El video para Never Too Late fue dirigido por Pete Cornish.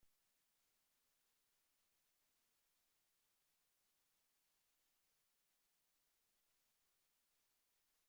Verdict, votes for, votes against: rejected, 0, 2